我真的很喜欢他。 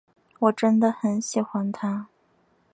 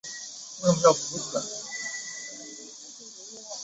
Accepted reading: first